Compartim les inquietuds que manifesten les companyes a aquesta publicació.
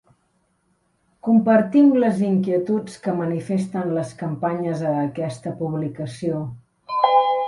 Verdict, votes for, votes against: rejected, 0, 2